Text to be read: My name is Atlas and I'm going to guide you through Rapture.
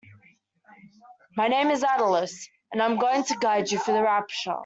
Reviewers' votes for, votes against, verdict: 0, 2, rejected